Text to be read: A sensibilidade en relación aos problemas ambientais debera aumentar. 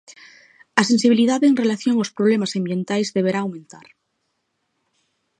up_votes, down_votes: 0, 2